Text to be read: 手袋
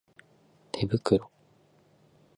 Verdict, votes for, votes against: rejected, 2, 2